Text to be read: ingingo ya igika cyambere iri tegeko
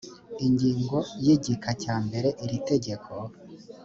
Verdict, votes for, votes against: accepted, 2, 0